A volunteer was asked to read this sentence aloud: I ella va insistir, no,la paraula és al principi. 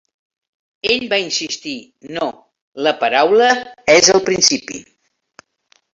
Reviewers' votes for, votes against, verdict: 0, 4, rejected